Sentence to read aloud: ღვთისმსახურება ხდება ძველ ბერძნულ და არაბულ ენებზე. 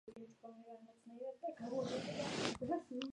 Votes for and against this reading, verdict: 0, 2, rejected